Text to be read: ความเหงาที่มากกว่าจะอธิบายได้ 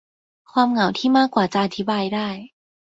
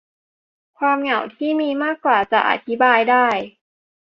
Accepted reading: first